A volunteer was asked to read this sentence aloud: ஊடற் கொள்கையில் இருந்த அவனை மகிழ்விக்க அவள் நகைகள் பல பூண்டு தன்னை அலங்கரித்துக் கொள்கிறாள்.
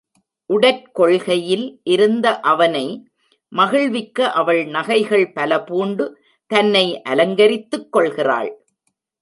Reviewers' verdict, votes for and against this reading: rejected, 0, 2